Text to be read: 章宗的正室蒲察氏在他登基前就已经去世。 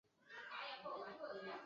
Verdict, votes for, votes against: rejected, 0, 2